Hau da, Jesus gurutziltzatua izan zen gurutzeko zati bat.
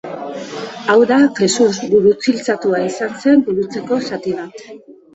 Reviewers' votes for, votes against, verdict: 1, 2, rejected